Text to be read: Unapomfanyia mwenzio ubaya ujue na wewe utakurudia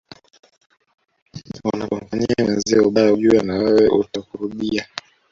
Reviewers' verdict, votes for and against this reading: rejected, 0, 2